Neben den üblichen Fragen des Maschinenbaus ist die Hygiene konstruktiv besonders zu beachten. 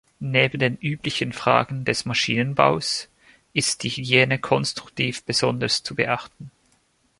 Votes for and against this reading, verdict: 2, 0, accepted